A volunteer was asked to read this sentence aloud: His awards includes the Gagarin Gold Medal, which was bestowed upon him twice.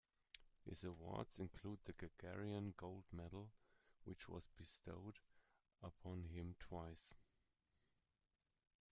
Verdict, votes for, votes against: rejected, 0, 2